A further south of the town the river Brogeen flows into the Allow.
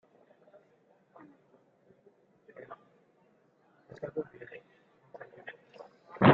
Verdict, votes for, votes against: rejected, 0, 2